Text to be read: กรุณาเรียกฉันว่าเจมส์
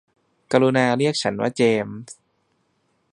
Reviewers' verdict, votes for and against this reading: accepted, 2, 0